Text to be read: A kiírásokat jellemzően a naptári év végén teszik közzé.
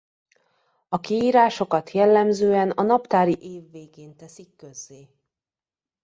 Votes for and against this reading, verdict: 2, 1, accepted